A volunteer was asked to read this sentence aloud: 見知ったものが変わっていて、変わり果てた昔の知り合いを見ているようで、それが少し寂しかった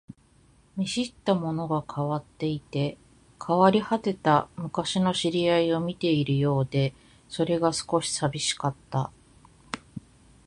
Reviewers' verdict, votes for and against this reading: accepted, 2, 0